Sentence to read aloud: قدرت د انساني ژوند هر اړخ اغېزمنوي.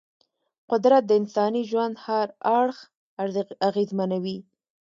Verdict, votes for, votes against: rejected, 1, 2